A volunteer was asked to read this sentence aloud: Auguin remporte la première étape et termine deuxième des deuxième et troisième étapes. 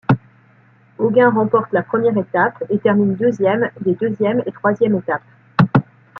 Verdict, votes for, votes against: accepted, 2, 0